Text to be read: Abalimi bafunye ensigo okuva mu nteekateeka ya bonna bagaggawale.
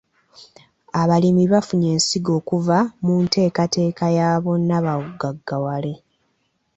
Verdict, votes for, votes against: accepted, 2, 0